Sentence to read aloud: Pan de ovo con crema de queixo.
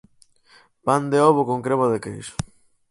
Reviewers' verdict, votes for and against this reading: accepted, 4, 0